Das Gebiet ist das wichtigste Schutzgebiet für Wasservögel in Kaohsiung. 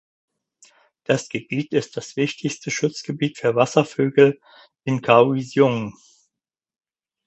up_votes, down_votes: 4, 0